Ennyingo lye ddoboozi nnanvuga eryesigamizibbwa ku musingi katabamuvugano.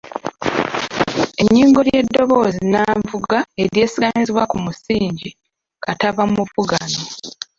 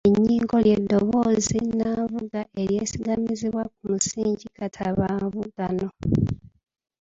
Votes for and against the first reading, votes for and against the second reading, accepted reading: 0, 2, 3, 2, second